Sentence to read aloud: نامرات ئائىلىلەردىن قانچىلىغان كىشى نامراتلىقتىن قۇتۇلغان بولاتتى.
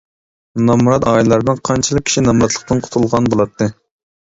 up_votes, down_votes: 0, 2